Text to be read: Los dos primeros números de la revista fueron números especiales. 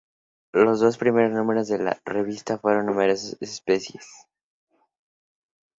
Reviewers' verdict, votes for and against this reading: rejected, 0, 4